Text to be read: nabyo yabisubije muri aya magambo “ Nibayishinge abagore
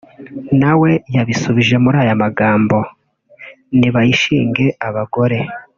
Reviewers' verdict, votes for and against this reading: rejected, 1, 2